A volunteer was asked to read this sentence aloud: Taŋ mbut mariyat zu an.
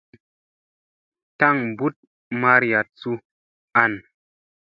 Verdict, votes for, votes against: accepted, 2, 0